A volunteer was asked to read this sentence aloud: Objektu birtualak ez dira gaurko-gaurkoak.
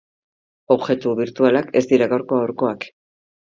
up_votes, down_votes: 2, 0